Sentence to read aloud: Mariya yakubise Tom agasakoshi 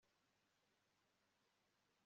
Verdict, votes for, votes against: rejected, 2, 3